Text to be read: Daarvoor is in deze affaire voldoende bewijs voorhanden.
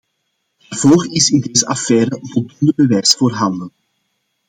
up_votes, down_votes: 2, 0